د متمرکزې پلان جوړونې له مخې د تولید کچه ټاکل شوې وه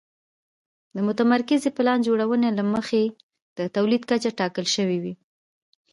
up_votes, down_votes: 2, 0